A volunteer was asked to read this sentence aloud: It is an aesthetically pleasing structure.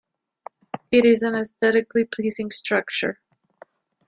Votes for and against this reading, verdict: 2, 0, accepted